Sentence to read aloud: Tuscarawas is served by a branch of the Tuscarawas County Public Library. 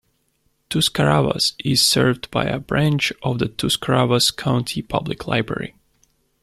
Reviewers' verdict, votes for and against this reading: rejected, 1, 2